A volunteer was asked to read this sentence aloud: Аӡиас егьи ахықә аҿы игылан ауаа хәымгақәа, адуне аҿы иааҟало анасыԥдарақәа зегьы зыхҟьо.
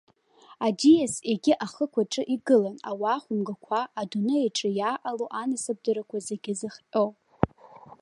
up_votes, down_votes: 2, 0